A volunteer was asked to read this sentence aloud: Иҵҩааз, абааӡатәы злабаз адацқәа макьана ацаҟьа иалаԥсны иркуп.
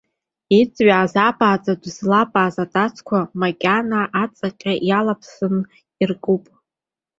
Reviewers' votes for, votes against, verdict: 1, 2, rejected